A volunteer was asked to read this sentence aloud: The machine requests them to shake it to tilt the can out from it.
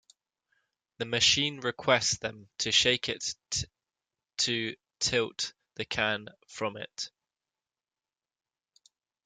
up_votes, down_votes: 0, 2